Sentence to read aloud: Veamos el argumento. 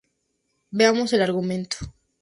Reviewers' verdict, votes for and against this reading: accepted, 2, 0